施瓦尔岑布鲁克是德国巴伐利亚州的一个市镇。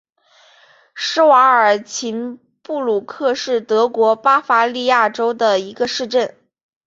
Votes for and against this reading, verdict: 3, 0, accepted